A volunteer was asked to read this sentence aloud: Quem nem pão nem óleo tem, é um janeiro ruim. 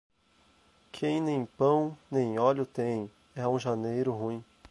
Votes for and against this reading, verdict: 4, 0, accepted